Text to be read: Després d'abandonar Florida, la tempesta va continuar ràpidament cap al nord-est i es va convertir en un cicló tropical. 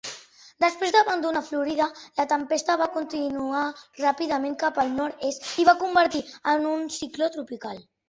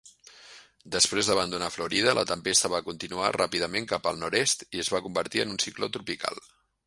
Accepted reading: second